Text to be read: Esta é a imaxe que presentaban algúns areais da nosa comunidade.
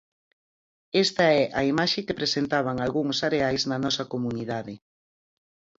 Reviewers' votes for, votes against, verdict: 0, 4, rejected